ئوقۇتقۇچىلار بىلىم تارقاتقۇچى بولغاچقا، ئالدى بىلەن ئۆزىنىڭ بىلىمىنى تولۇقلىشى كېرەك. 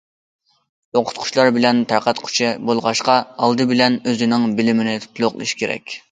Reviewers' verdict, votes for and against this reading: rejected, 0, 2